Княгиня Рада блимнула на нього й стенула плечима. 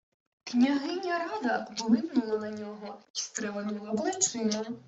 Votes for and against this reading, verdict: 0, 2, rejected